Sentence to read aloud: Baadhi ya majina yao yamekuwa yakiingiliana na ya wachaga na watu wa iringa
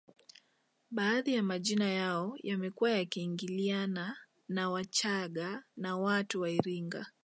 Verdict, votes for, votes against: accepted, 2, 0